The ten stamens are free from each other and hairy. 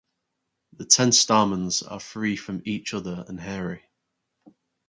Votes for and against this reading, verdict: 4, 2, accepted